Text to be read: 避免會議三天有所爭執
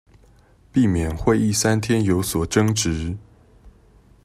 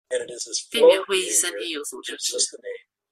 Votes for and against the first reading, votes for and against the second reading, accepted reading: 2, 0, 0, 2, first